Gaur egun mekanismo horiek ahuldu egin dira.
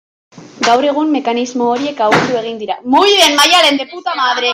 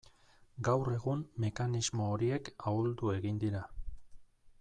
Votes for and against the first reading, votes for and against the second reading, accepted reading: 0, 2, 2, 0, second